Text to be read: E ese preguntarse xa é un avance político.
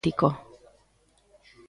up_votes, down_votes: 0, 2